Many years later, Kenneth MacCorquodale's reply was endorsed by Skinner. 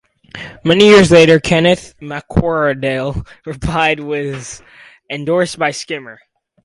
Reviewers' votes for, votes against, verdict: 0, 2, rejected